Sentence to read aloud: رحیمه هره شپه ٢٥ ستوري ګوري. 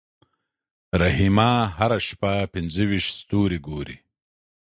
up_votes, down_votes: 0, 2